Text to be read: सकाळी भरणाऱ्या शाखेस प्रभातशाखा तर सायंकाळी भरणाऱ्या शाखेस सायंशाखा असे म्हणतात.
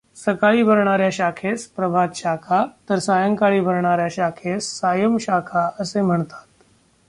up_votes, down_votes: 2, 0